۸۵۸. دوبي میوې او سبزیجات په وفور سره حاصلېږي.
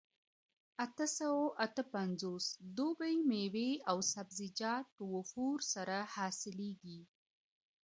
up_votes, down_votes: 0, 2